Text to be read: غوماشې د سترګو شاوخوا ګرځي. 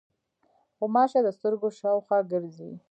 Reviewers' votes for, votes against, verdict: 2, 0, accepted